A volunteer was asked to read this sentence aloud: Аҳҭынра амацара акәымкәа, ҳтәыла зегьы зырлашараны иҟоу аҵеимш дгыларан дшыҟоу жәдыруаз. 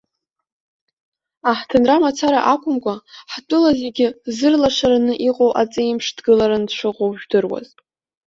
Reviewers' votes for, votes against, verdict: 2, 1, accepted